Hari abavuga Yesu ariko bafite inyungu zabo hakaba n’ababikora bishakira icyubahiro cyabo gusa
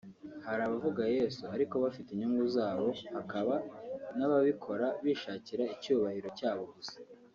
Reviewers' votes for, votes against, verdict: 2, 0, accepted